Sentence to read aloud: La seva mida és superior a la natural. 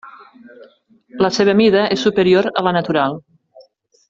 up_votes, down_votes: 3, 0